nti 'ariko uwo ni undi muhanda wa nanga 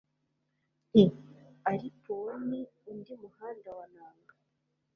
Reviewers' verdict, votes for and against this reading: rejected, 1, 2